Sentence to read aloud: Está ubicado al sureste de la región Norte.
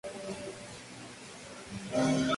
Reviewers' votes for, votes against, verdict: 0, 2, rejected